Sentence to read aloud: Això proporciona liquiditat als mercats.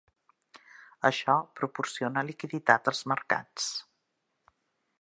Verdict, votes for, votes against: accepted, 3, 0